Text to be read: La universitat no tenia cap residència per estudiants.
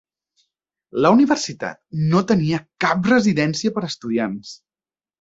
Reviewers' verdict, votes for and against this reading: rejected, 1, 2